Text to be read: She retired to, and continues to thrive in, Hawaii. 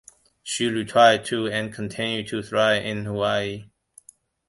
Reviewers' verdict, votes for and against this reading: rejected, 1, 2